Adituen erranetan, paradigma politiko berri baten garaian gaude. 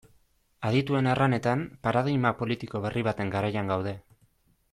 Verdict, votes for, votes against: accepted, 2, 0